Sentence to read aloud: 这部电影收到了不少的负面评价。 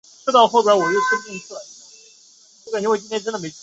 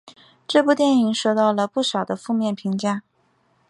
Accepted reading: second